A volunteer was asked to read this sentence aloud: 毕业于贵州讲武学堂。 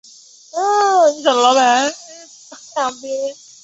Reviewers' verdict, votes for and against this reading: rejected, 0, 2